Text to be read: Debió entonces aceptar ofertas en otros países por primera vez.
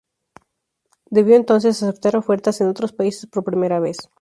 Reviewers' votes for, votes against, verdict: 2, 0, accepted